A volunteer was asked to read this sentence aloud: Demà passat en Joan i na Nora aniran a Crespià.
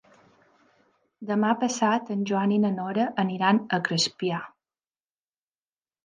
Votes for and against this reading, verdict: 3, 0, accepted